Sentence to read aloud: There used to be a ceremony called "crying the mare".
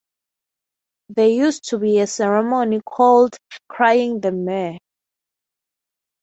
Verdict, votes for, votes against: accepted, 3, 0